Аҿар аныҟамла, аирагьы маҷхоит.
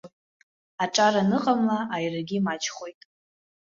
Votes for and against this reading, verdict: 2, 0, accepted